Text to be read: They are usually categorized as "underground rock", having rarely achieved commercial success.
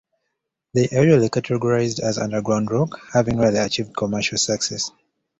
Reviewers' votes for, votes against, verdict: 1, 2, rejected